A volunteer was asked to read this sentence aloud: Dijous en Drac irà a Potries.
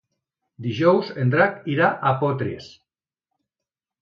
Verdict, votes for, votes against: rejected, 0, 2